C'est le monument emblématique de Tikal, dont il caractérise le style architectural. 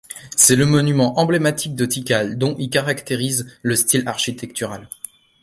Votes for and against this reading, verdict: 2, 0, accepted